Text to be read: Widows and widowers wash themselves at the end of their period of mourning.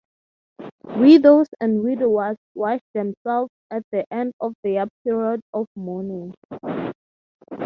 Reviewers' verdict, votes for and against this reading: rejected, 3, 3